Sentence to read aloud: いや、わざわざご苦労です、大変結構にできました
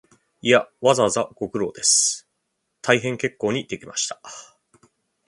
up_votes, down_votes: 2, 0